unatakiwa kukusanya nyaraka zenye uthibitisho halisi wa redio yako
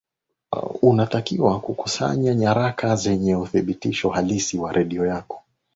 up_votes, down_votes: 21, 1